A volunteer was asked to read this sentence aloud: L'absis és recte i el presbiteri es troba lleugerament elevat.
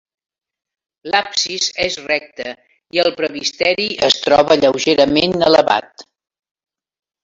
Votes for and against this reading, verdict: 0, 2, rejected